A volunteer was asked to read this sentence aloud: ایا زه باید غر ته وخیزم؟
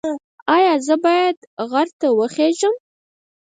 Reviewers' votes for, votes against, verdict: 0, 4, rejected